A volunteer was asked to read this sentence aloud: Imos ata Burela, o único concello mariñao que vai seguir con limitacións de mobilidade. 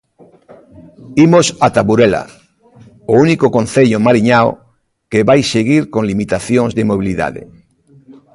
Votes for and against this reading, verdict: 2, 0, accepted